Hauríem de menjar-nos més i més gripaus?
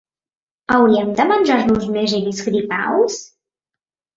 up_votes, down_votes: 1, 2